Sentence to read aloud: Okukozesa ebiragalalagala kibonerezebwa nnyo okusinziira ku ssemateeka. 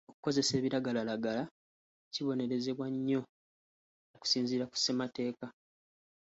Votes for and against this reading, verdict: 2, 0, accepted